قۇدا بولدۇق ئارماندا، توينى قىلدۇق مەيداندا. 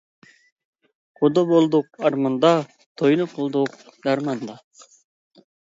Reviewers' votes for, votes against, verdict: 0, 2, rejected